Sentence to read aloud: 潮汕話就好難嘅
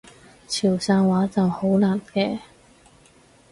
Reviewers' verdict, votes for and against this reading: accepted, 4, 0